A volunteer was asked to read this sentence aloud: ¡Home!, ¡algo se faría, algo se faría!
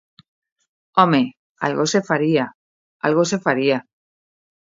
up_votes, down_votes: 2, 0